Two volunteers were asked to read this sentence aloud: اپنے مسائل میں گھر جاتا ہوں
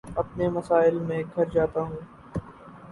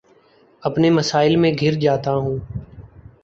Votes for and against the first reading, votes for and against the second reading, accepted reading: 0, 2, 10, 0, second